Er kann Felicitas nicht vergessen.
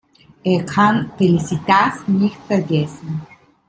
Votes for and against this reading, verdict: 2, 0, accepted